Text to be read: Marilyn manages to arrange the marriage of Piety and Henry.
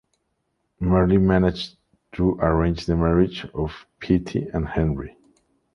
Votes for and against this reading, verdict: 0, 2, rejected